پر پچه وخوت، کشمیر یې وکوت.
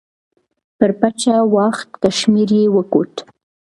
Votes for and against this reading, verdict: 1, 2, rejected